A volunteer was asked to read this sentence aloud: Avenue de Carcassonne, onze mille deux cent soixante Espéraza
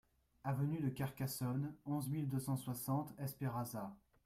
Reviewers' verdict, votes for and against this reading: accepted, 2, 0